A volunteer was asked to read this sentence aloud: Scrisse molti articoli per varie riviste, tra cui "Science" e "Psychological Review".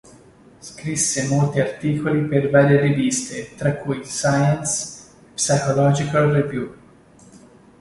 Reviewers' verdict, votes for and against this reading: accepted, 3, 0